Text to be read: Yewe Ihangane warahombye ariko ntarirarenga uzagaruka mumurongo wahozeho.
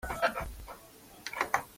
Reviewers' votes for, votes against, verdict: 0, 2, rejected